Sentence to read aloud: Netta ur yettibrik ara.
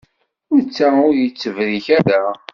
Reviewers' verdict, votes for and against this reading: rejected, 0, 2